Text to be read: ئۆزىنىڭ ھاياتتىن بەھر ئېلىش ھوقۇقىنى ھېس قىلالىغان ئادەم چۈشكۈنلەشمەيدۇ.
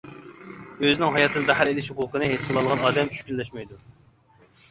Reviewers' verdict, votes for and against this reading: rejected, 0, 2